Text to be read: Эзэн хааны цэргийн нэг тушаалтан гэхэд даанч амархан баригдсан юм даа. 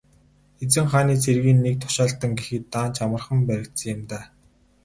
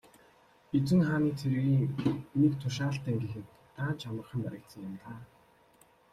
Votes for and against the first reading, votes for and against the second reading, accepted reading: 8, 0, 1, 2, first